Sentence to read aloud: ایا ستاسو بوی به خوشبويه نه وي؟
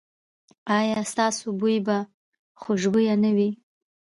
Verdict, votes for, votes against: accepted, 2, 0